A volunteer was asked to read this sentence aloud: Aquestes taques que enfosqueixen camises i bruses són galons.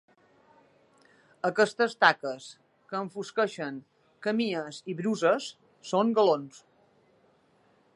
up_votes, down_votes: 0, 2